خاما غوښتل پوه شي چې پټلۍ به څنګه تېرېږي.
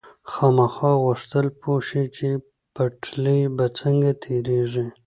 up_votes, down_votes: 1, 2